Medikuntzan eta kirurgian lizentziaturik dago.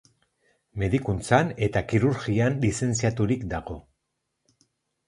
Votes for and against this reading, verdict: 4, 0, accepted